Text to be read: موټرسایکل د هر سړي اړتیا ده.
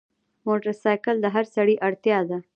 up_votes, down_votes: 1, 2